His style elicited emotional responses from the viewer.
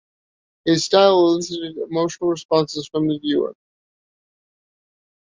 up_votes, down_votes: 1, 2